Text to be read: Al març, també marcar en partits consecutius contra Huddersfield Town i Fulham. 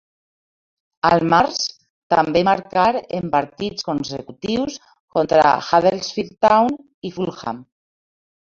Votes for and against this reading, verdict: 2, 0, accepted